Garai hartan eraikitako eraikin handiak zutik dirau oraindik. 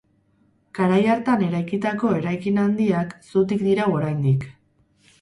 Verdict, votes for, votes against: rejected, 2, 2